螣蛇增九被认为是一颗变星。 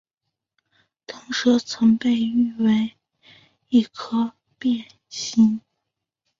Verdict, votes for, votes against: rejected, 0, 3